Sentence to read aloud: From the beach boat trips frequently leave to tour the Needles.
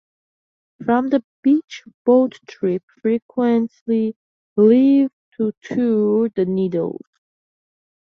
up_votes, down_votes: 0, 2